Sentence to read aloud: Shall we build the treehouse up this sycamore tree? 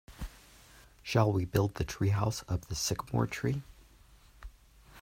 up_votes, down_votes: 2, 0